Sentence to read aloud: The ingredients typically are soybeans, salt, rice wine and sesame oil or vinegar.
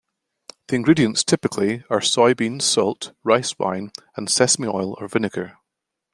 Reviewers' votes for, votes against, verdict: 2, 0, accepted